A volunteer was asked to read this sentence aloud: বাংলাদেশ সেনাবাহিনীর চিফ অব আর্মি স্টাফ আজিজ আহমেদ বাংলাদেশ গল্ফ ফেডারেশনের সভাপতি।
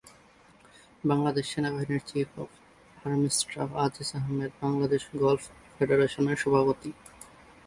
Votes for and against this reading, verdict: 1, 2, rejected